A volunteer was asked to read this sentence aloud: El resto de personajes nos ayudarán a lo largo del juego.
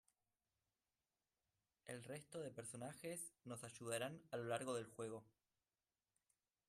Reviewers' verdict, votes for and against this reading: rejected, 1, 2